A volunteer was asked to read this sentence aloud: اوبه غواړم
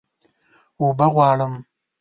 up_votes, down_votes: 2, 0